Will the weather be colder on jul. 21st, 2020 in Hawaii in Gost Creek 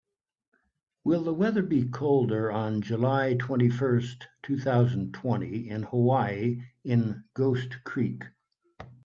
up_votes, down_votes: 0, 2